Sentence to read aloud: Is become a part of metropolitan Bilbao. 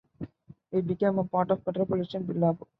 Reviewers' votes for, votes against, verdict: 0, 3, rejected